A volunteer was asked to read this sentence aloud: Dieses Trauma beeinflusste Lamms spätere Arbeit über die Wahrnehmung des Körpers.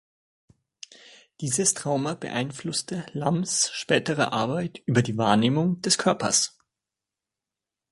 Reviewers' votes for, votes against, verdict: 2, 0, accepted